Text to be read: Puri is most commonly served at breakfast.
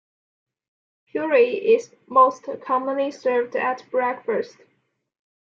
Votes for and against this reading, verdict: 0, 2, rejected